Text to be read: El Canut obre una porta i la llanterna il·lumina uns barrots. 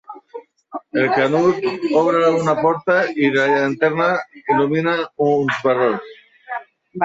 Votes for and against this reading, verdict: 1, 2, rejected